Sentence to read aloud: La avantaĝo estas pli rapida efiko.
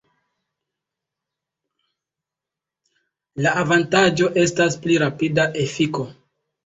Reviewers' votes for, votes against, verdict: 2, 0, accepted